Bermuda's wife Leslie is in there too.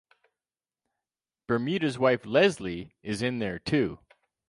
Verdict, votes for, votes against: accepted, 2, 0